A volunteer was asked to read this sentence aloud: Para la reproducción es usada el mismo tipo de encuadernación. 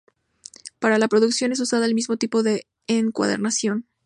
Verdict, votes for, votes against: rejected, 0, 2